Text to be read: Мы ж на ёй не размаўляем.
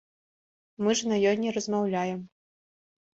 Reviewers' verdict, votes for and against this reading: accepted, 2, 0